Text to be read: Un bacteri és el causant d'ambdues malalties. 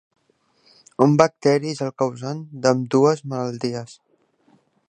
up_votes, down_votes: 3, 1